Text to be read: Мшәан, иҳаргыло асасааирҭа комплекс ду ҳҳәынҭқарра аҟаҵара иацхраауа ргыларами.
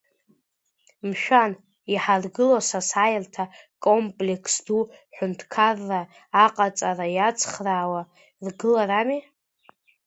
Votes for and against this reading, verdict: 2, 1, accepted